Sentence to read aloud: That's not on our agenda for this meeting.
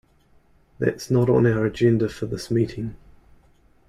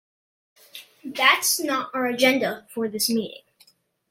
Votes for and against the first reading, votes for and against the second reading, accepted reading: 2, 0, 0, 2, first